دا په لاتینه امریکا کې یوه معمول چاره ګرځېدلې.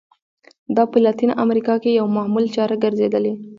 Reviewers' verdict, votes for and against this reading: rejected, 1, 2